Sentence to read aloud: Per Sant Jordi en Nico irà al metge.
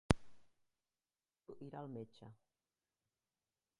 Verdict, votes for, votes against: rejected, 0, 2